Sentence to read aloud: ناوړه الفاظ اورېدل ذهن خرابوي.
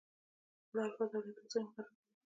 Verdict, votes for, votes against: rejected, 0, 2